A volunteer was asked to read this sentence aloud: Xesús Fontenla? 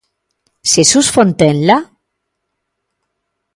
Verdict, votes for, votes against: accepted, 2, 0